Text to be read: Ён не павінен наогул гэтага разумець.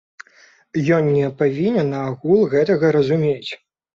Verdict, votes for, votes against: rejected, 1, 2